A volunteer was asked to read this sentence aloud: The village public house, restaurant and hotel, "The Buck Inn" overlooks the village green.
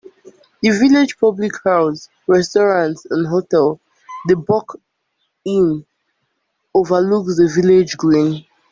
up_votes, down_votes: 2, 1